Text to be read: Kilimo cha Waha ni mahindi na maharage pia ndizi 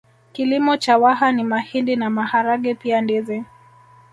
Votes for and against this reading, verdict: 2, 1, accepted